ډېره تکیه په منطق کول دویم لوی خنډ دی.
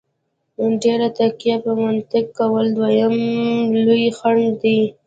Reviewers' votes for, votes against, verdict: 2, 1, accepted